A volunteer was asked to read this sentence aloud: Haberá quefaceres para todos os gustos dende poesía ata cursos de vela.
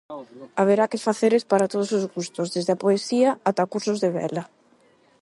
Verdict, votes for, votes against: rejected, 0, 8